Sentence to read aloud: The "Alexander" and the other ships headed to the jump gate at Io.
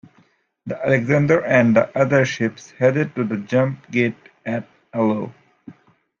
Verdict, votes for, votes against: rejected, 1, 2